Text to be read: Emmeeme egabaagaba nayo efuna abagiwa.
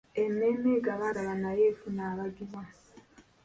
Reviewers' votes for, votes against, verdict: 2, 0, accepted